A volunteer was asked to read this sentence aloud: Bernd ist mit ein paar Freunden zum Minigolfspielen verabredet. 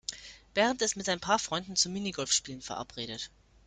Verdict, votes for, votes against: accepted, 2, 0